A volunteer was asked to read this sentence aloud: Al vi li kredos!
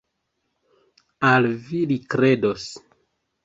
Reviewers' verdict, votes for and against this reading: accepted, 3, 1